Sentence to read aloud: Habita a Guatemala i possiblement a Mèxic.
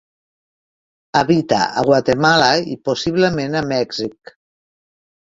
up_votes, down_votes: 3, 0